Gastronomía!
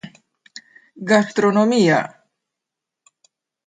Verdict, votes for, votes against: rejected, 0, 2